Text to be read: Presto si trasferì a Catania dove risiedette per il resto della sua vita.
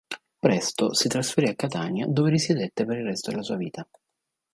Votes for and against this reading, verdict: 2, 0, accepted